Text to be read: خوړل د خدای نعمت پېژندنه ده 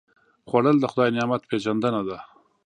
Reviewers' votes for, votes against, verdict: 3, 0, accepted